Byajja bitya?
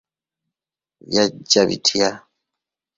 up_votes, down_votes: 1, 2